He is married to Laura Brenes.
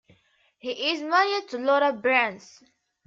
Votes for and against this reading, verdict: 0, 2, rejected